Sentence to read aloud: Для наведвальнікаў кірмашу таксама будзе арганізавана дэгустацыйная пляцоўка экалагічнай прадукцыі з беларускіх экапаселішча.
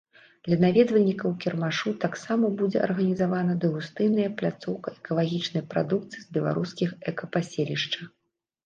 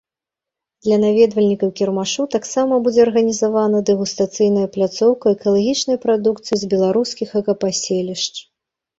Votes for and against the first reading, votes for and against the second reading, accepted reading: 0, 2, 2, 1, second